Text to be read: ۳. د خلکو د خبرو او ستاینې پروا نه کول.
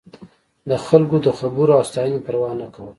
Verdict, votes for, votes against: rejected, 0, 2